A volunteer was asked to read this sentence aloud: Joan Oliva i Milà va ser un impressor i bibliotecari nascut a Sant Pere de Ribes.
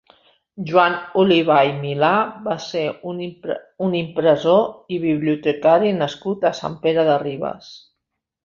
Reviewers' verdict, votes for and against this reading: rejected, 0, 2